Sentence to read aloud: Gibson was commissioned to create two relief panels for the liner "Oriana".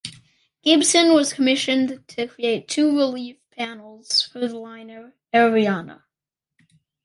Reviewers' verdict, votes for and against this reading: accepted, 2, 0